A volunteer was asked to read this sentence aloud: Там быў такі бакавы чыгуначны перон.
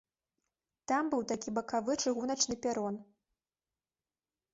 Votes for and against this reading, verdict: 2, 0, accepted